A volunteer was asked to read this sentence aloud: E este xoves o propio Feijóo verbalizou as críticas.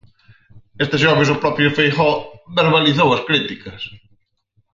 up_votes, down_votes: 0, 4